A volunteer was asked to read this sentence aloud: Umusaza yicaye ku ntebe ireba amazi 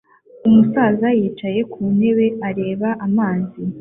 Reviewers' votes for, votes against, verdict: 2, 0, accepted